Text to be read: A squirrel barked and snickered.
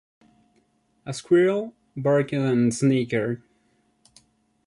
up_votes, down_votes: 1, 2